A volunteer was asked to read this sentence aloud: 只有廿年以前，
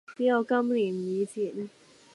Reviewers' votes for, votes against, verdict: 0, 2, rejected